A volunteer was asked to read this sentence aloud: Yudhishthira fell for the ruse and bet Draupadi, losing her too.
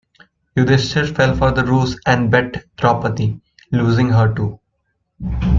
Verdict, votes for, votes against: rejected, 1, 2